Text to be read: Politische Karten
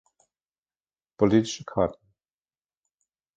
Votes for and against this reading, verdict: 0, 2, rejected